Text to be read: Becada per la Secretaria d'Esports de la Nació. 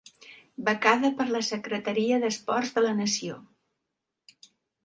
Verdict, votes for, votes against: accepted, 2, 0